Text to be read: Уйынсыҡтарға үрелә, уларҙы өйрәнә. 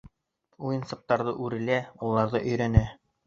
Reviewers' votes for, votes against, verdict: 1, 2, rejected